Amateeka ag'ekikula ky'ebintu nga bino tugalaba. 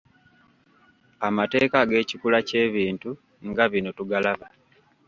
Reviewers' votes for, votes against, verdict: 1, 2, rejected